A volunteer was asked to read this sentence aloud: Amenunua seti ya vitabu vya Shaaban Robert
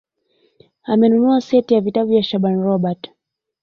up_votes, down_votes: 1, 2